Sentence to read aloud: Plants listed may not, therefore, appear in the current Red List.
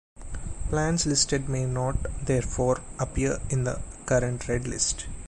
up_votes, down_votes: 1, 2